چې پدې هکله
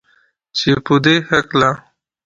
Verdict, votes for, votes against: accepted, 2, 0